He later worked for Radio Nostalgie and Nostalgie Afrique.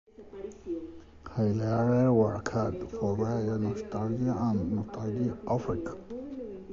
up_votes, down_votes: 0, 2